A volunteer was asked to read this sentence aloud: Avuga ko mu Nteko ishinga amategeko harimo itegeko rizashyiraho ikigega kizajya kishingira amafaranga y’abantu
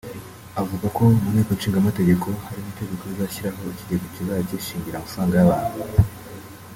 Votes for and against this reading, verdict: 2, 3, rejected